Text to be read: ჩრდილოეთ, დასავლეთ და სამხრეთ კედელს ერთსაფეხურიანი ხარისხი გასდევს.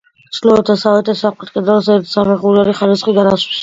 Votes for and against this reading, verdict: 0, 2, rejected